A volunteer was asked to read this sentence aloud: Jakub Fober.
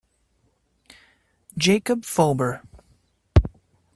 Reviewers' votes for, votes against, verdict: 2, 0, accepted